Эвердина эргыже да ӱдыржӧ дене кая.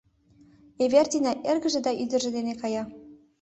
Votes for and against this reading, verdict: 2, 0, accepted